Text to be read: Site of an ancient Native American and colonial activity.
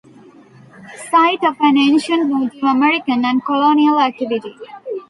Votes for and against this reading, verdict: 1, 2, rejected